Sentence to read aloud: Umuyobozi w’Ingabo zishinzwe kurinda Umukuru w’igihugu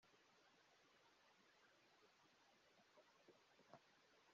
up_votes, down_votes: 1, 2